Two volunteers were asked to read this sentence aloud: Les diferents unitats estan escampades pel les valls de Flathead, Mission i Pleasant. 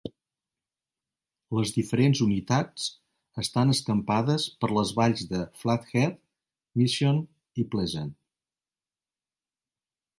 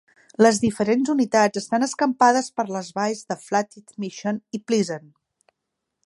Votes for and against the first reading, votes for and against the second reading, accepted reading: 2, 1, 0, 2, first